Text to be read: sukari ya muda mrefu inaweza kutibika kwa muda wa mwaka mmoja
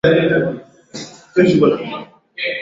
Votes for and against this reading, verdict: 1, 7, rejected